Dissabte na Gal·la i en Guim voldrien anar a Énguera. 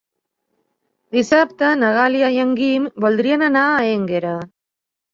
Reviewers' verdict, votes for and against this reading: rejected, 0, 2